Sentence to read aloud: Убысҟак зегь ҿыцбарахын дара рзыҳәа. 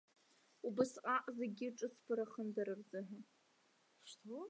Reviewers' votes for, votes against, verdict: 0, 2, rejected